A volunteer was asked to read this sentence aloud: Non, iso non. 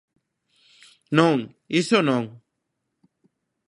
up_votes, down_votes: 2, 0